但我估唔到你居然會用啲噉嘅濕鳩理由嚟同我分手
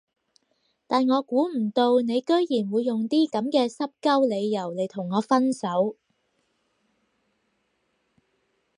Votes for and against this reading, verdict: 4, 0, accepted